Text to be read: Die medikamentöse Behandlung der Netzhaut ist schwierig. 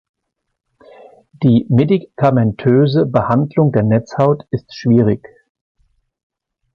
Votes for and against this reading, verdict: 2, 0, accepted